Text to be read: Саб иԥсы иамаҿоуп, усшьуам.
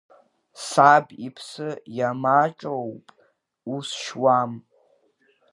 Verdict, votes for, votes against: rejected, 0, 2